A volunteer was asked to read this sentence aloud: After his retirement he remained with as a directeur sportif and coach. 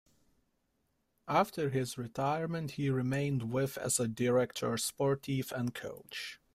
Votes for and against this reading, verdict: 2, 1, accepted